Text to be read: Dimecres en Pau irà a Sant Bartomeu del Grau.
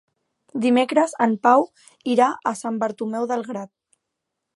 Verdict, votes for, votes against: rejected, 0, 2